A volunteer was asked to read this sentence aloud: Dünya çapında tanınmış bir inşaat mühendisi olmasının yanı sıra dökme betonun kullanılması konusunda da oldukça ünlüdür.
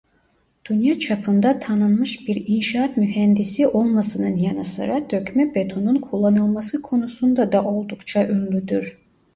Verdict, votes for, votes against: accepted, 2, 1